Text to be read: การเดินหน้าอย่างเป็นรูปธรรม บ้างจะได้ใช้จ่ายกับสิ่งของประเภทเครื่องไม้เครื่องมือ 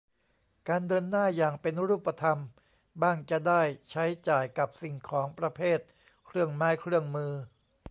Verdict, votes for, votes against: accepted, 2, 0